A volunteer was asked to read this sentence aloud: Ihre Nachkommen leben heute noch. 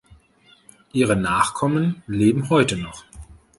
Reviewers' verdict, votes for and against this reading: accepted, 2, 0